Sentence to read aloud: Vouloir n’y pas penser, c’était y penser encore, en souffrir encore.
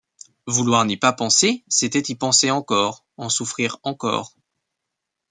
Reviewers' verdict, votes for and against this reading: accepted, 2, 0